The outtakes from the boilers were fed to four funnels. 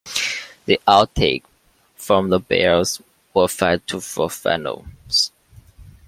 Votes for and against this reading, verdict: 0, 2, rejected